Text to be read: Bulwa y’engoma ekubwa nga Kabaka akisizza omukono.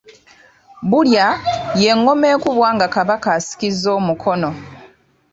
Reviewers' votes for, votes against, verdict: 2, 4, rejected